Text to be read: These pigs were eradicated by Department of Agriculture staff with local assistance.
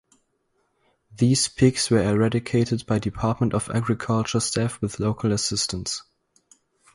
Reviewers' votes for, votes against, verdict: 2, 0, accepted